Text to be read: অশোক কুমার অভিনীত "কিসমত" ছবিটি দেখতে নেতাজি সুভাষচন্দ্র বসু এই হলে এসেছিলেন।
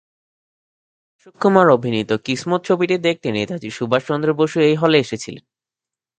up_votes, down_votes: 2, 0